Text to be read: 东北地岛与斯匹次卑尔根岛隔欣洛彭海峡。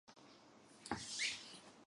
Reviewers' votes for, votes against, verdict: 0, 2, rejected